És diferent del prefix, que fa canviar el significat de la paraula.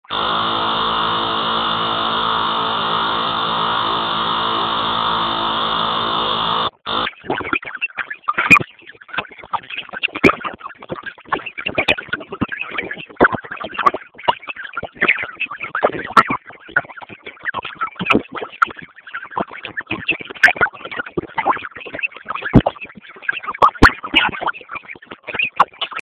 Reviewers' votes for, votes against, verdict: 0, 4, rejected